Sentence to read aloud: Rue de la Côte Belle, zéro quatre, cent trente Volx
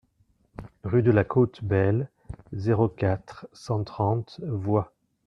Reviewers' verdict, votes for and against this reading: rejected, 1, 2